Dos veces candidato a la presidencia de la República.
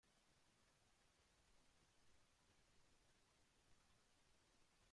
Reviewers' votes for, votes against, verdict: 0, 2, rejected